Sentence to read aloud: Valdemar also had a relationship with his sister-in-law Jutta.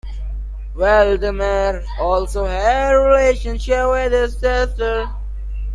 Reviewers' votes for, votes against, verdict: 0, 2, rejected